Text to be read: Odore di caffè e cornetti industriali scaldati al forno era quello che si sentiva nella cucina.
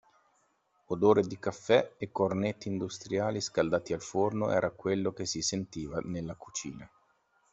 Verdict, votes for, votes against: accepted, 2, 0